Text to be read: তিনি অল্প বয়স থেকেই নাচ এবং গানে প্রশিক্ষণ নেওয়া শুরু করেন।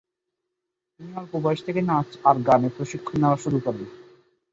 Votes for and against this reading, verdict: 5, 4, accepted